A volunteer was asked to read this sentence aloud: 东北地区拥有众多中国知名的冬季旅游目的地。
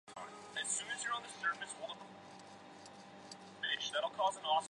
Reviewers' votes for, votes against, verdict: 2, 1, accepted